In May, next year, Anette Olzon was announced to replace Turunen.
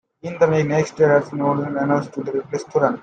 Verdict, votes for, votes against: rejected, 0, 2